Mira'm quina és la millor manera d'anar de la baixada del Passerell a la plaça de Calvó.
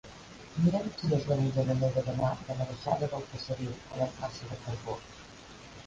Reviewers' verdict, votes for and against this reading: rejected, 0, 2